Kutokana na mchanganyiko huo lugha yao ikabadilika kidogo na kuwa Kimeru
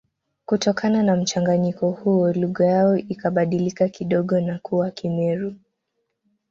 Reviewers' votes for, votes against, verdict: 2, 0, accepted